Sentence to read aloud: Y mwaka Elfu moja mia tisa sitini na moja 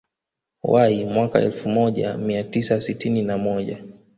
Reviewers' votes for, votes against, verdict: 1, 2, rejected